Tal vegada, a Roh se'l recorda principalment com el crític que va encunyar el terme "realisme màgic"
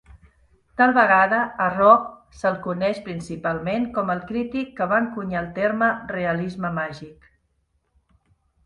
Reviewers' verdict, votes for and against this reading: rejected, 1, 2